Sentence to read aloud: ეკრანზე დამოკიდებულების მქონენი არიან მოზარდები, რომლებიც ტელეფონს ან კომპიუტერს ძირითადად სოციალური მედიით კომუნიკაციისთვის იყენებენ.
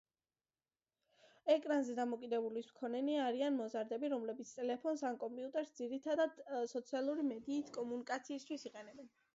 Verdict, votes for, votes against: accepted, 2, 0